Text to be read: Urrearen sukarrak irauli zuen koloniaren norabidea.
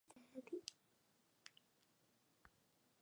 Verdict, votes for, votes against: rejected, 0, 2